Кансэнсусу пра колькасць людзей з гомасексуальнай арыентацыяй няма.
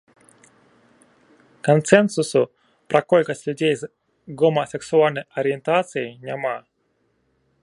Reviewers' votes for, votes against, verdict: 2, 0, accepted